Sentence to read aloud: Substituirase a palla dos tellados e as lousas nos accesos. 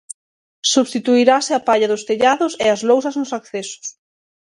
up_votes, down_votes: 6, 0